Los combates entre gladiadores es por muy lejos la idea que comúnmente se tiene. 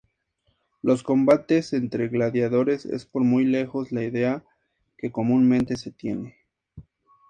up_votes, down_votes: 2, 0